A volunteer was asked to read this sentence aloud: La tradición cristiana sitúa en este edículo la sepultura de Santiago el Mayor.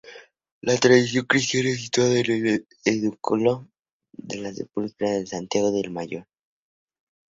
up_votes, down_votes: 0, 4